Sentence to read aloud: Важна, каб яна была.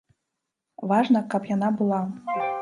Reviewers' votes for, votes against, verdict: 2, 0, accepted